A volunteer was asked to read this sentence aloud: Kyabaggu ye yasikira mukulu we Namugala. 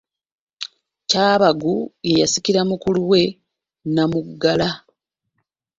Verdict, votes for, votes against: accepted, 2, 0